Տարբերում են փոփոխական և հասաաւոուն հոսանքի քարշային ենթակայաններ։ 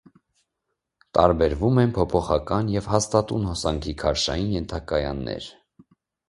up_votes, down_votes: 1, 2